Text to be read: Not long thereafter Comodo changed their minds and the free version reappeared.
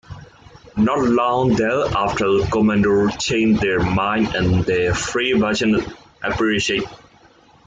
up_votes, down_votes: 0, 2